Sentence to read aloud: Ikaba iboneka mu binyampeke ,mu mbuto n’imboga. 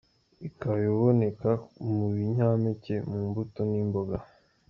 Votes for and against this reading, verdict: 2, 0, accepted